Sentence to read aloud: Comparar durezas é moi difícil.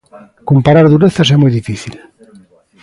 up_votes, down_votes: 2, 0